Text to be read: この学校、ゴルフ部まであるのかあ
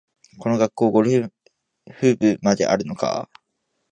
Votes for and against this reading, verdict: 1, 2, rejected